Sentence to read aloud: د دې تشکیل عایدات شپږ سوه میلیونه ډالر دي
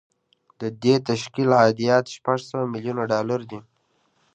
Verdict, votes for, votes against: accepted, 3, 0